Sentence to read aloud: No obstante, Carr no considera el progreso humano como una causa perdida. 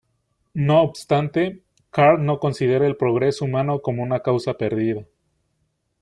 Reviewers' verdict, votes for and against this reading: accepted, 2, 0